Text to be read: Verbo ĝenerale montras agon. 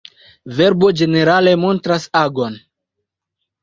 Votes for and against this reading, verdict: 2, 0, accepted